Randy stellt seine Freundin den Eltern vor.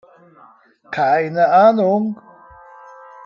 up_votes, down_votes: 0, 2